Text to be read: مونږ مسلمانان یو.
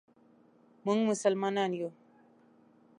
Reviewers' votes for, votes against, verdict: 2, 0, accepted